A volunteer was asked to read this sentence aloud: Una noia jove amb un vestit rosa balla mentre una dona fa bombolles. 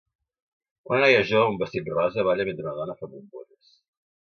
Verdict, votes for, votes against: rejected, 1, 3